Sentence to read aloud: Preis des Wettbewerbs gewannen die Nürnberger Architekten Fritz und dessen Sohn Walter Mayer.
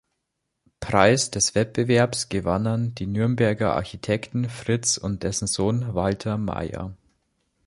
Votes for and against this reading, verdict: 2, 0, accepted